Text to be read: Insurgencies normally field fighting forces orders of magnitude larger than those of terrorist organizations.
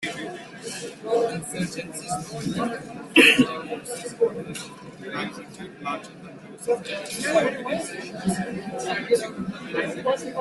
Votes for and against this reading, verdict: 0, 2, rejected